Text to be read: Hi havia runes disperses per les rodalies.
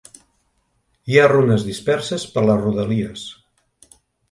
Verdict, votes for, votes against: rejected, 1, 2